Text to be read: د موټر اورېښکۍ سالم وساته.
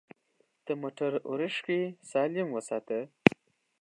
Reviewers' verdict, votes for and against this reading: rejected, 1, 2